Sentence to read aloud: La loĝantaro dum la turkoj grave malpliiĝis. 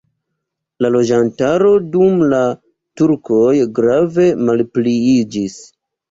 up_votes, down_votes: 2, 1